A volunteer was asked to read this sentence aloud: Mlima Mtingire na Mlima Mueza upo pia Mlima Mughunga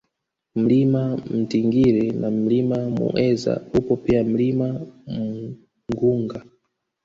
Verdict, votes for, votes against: rejected, 0, 2